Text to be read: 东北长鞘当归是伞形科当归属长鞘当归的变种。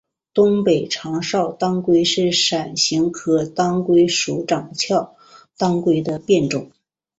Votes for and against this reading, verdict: 2, 0, accepted